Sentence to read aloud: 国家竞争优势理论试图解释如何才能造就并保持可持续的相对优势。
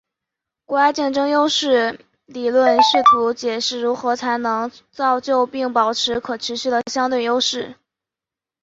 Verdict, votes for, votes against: accepted, 5, 1